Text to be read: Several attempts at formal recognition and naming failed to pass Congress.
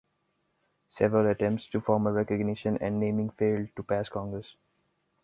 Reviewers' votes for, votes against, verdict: 1, 2, rejected